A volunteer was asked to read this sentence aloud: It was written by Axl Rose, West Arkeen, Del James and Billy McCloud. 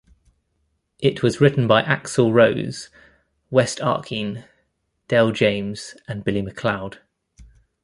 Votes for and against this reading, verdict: 2, 0, accepted